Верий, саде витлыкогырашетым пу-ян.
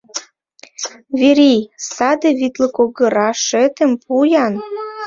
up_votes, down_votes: 1, 2